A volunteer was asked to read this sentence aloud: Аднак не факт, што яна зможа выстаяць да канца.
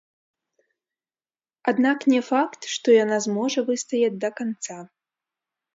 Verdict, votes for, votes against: rejected, 1, 2